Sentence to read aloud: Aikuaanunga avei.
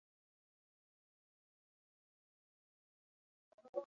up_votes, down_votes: 0, 2